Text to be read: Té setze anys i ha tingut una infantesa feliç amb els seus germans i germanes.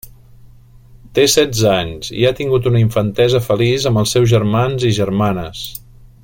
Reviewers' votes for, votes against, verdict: 3, 0, accepted